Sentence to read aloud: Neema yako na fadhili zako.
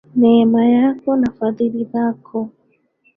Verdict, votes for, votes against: rejected, 1, 2